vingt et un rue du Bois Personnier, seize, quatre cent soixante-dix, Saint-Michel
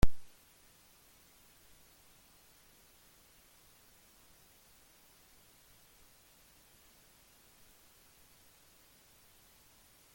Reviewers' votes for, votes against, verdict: 0, 2, rejected